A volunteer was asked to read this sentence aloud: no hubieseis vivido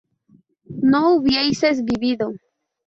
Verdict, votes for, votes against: rejected, 0, 2